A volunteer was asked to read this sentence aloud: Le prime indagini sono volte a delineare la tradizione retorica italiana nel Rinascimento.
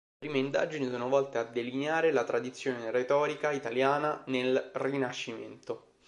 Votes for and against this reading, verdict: 2, 3, rejected